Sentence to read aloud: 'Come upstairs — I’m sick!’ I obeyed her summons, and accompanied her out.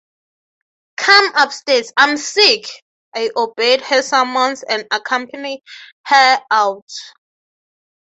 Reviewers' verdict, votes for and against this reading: rejected, 0, 3